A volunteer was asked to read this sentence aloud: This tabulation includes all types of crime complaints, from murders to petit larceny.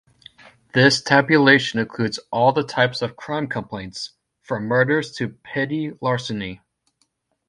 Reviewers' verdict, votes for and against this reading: rejected, 1, 2